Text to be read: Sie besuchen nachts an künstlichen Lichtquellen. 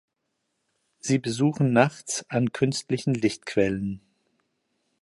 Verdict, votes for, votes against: accepted, 2, 0